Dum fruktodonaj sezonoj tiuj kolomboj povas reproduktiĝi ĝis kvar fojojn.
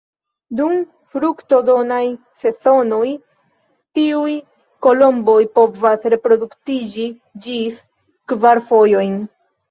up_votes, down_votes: 1, 2